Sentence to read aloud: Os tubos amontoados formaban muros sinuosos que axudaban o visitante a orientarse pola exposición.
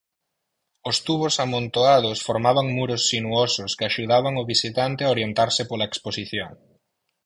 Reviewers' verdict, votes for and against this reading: accepted, 4, 0